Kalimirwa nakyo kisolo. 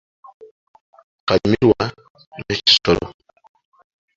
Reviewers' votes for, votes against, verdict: 2, 1, accepted